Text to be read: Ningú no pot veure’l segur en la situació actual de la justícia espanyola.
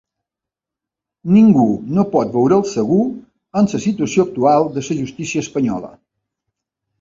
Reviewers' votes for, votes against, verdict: 1, 2, rejected